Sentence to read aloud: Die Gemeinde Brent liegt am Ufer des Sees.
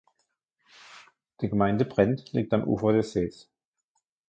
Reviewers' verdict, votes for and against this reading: accepted, 2, 0